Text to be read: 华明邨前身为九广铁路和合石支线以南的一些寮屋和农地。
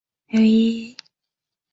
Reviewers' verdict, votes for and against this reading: rejected, 0, 2